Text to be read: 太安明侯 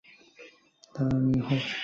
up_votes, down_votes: 0, 2